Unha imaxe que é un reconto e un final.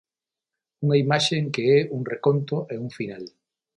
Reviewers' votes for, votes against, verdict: 0, 9, rejected